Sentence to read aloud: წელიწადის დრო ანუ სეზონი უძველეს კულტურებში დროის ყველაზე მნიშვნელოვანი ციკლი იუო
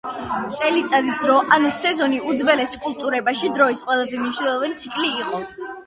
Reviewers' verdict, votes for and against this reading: rejected, 0, 2